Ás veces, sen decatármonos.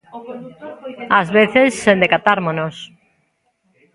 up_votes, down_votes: 1, 2